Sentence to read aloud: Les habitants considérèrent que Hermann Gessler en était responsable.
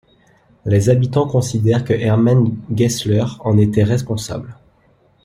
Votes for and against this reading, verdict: 0, 2, rejected